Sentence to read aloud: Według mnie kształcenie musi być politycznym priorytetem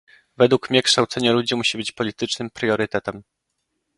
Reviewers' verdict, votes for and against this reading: rejected, 0, 2